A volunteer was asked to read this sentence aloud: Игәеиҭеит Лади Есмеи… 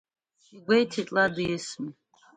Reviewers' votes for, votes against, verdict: 0, 2, rejected